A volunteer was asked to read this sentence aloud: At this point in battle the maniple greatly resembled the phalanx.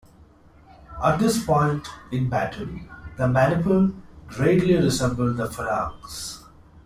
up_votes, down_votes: 1, 2